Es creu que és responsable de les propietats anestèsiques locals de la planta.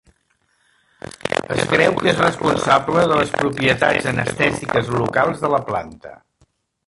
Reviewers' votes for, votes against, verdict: 0, 2, rejected